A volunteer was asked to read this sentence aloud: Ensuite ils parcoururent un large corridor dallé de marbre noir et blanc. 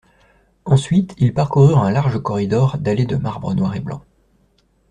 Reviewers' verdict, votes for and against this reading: accepted, 2, 0